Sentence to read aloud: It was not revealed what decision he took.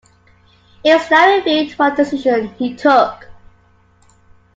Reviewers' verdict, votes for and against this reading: rejected, 0, 2